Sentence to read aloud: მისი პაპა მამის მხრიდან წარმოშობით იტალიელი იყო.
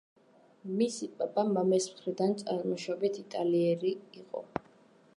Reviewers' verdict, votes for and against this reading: accepted, 2, 0